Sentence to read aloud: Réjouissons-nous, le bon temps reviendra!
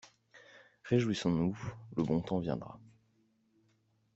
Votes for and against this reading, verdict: 2, 1, accepted